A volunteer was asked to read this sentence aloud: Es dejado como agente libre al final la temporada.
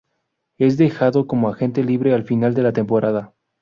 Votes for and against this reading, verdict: 0, 2, rejected